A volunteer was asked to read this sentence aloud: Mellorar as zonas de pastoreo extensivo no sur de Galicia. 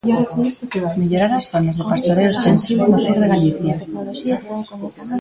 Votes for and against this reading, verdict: 0, 2, rejected